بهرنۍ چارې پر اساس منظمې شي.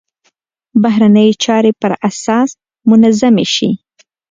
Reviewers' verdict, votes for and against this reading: accepted, 2, 0